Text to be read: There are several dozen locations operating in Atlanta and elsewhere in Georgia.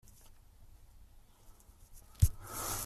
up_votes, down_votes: 0, 2